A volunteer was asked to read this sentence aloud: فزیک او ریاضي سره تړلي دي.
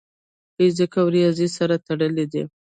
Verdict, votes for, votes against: accepted, 2, 0